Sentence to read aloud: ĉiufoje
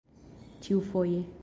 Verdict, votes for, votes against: accepted, 2, 0